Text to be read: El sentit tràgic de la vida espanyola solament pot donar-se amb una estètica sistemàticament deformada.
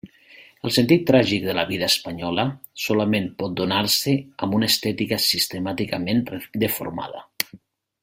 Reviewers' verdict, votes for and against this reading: rejected, 0, 2